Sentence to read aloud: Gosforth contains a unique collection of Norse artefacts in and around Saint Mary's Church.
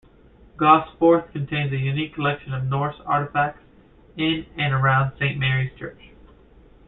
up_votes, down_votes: 2, 0